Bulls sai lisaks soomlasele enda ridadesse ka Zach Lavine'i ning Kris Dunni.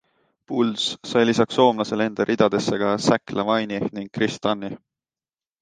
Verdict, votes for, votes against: accepted, 2, 0